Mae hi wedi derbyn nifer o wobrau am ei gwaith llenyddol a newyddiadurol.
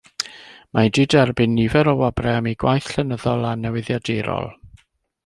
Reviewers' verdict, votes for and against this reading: rejected, 1, 2